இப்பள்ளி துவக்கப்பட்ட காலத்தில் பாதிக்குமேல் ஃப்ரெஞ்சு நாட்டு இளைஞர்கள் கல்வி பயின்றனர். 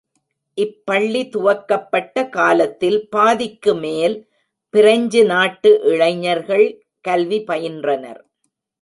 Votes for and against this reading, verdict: 1, 2, rejected